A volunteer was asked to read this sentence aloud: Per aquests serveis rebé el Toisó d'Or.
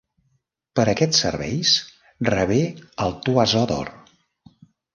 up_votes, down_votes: 0, 2